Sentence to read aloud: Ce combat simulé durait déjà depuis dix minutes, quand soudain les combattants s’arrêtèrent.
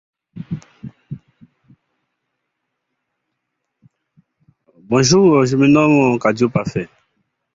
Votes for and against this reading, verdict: 0, 2, rejected